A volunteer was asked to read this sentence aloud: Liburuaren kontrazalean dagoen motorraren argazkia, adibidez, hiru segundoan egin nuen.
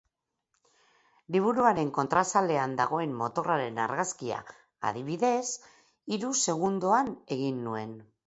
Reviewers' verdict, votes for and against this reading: accepted, 4, 0